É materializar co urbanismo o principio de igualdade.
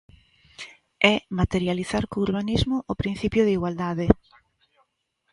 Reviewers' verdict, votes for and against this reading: accepted, 2, 1